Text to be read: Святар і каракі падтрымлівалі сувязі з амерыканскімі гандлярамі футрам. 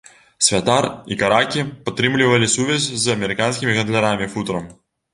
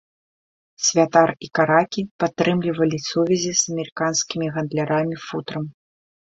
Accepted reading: second